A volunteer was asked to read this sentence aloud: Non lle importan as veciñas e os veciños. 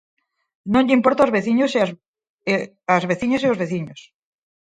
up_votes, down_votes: 0, 4